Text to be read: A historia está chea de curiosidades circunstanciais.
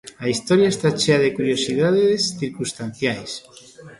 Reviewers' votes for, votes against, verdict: 0, 2, rejected